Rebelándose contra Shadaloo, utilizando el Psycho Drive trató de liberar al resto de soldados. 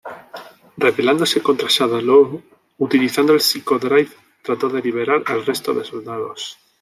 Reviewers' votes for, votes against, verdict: 2, 1, accepted